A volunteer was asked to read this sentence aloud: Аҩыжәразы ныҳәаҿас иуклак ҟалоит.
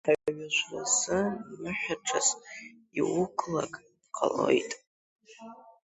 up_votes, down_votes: 0, 3